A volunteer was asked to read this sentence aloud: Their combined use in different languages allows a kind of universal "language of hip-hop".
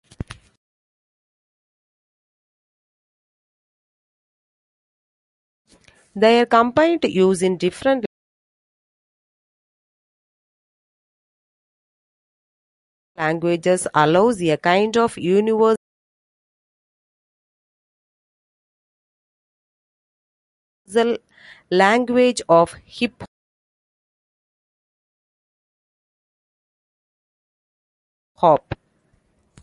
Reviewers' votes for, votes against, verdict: 0, 2, rejected